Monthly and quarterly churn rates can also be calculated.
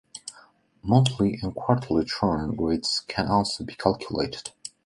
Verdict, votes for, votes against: accepted, 2, 0